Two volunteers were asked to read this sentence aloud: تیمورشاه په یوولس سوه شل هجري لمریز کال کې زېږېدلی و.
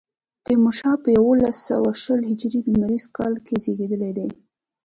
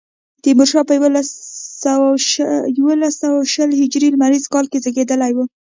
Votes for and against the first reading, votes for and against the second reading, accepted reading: 2, 0, 1, 2, first